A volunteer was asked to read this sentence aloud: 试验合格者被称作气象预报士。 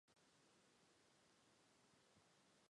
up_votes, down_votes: 0, 3